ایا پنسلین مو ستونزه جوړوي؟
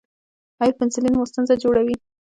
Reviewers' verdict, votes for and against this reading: rejected, 1, 2